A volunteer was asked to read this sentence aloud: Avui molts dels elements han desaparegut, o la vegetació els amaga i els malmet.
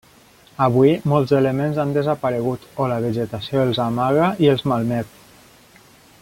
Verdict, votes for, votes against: rejected, 0, 2